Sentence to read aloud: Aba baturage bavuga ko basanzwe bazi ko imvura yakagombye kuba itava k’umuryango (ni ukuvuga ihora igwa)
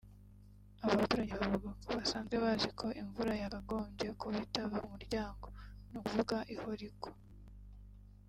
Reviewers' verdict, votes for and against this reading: accepted, 3, 1